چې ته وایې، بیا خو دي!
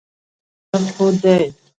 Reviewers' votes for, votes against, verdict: 1, 2, rejected